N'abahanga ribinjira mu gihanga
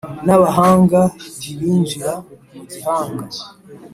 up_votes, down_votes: 2, 0